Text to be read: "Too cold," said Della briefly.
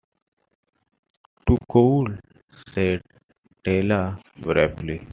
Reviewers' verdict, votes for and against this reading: accepted, 2, 1